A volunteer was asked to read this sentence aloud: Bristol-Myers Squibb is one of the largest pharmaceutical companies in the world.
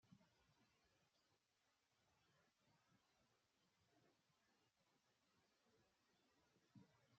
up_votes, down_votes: 0, 2